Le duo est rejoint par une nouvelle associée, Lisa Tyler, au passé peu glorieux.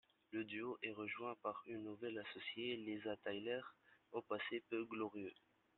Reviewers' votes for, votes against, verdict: 1, 2, rejected